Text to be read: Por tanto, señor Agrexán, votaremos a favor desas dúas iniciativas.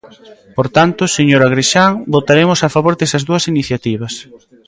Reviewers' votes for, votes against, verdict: 2, 0, accepted